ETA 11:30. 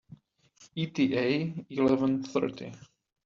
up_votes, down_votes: 0, 2